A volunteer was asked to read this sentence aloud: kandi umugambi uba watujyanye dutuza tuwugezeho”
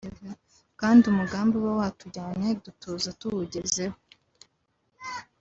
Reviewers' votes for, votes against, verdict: 2, 0, accepted